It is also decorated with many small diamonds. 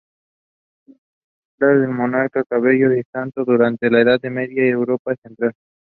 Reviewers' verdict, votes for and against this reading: rejected, 0, 2